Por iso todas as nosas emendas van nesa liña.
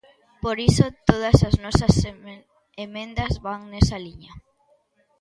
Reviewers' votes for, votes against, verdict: 0, 2, rejected